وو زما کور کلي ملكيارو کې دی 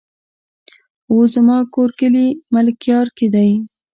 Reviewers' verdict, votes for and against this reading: rejected, 0, 2